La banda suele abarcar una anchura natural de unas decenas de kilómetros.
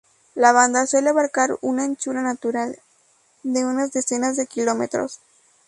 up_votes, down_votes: 2, 0